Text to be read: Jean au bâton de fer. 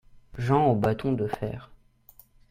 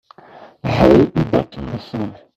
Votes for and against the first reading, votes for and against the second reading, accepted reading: 2, 0, 1, 2, first